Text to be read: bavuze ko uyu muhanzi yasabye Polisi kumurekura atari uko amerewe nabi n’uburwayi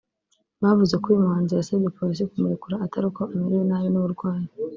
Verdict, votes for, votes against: accepted, 4, 0